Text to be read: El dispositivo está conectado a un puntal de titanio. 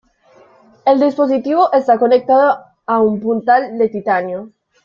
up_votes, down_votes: 2, 0